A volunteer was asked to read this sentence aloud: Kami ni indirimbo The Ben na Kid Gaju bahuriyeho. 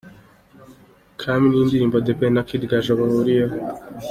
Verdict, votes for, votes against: accepted, 2, 0